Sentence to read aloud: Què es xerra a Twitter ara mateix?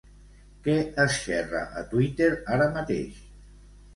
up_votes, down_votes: 2, 1